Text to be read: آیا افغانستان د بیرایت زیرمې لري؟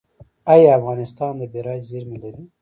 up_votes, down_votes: 2, 0